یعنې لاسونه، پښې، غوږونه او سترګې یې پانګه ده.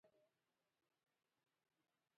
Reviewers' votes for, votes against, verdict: 1, 2, rejected